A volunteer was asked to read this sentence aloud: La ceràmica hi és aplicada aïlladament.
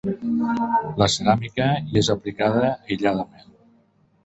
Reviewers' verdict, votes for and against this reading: rejected, 0, 4